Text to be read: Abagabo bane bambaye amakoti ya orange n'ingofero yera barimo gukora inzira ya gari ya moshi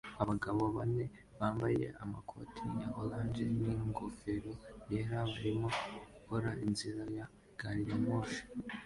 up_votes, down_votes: 2, 0